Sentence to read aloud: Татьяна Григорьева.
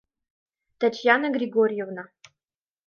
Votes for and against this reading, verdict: 0, 2, rejected